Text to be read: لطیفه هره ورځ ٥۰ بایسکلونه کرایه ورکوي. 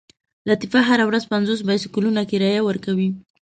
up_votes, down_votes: 0, 2